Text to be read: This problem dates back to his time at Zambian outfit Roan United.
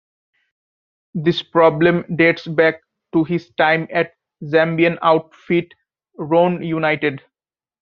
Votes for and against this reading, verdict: 3, 0, accepted